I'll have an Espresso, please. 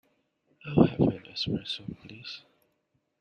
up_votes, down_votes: 1, 2